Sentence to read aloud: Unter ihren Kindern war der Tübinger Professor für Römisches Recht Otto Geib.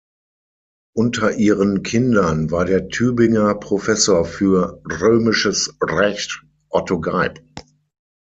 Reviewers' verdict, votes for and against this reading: rejected, 3, 6